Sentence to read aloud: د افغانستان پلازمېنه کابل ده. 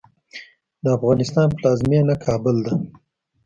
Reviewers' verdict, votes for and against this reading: accepted, 2, 0